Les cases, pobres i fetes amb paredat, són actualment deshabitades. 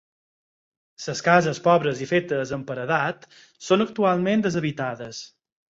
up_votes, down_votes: 0, 4